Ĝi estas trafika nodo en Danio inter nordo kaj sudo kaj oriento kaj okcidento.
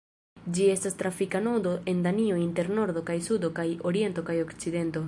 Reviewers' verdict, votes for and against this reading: rejected, 0, 2